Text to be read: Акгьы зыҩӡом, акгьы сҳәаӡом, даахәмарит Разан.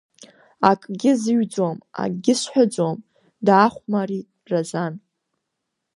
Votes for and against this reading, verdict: 2, 0, accepted